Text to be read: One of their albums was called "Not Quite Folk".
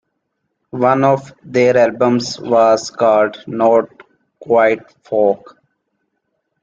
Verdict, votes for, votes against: accepted, 2, 0